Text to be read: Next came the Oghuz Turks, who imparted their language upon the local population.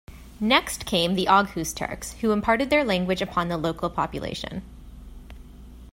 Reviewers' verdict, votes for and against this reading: accepted, 2, 0